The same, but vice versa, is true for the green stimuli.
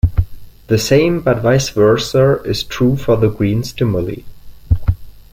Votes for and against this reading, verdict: 0, 2, rejected